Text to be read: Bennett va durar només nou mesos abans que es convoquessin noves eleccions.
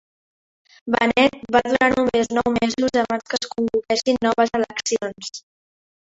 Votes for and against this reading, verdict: 0, 2, rejected